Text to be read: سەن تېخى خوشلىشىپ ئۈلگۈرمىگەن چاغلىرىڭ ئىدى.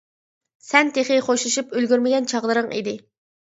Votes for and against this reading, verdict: 2, 0, accepted